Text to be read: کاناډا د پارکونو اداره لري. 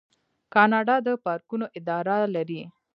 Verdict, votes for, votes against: accepted, 2, 0